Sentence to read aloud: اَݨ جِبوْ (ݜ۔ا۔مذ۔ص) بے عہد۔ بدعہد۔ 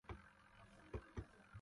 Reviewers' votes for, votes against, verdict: 0, 2, rejected